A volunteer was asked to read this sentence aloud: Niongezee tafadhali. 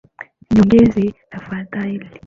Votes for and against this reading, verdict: 2, 0, accepted